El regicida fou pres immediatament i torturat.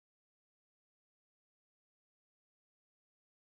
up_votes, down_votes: 0, 2